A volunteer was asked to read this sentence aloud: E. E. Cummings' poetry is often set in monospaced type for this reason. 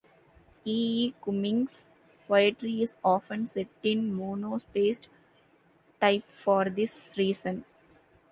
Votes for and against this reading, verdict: 1, 2, rejected